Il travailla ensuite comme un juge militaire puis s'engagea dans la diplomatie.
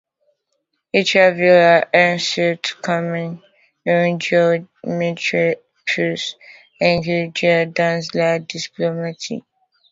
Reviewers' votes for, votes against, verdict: 0, 2, rejected